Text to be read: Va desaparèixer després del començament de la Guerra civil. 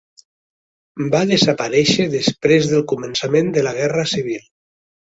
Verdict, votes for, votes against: accepted, 3, 0